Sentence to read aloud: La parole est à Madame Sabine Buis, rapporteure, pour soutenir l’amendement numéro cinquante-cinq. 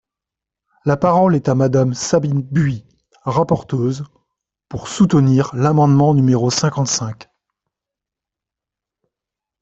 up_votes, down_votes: 0, 3